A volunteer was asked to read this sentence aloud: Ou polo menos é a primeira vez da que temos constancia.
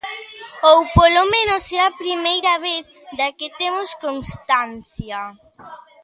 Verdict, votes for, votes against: rejected, 1, 2